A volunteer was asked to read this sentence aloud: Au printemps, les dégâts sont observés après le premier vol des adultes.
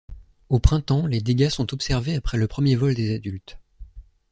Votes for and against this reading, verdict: 2, 0, accepted